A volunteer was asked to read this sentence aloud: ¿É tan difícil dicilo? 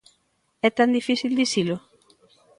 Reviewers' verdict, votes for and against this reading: accepted, 2, 1